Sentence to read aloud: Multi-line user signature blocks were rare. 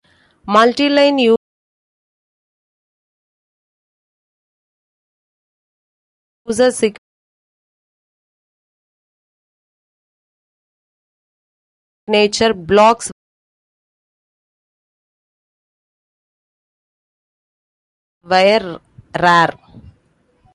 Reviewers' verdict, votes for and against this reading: rejected, 0, 2